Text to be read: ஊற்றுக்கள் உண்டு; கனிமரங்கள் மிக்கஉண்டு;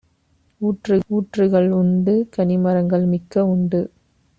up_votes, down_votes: 1, 2